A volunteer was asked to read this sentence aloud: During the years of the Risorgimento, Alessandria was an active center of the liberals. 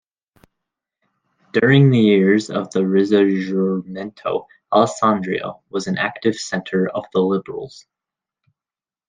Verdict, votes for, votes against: rejected, 1, 2